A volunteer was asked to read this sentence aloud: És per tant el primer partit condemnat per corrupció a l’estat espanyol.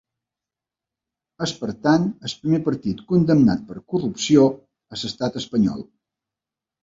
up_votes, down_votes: 1, 2